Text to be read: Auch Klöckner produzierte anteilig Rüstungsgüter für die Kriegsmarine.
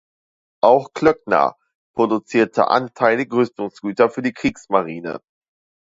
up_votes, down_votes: 2, 0